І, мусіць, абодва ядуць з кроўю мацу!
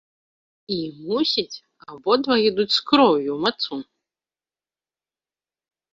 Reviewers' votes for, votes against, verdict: 3, 1, accepted